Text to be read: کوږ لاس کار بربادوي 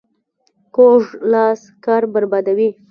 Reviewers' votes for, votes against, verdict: 0, 2, rejected